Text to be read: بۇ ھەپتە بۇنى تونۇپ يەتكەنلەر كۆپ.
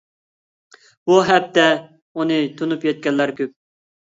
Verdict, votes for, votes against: accepted, 2, 0